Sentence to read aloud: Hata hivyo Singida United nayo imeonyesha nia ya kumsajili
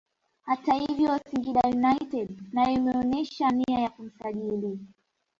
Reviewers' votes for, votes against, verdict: 2, 1, accepted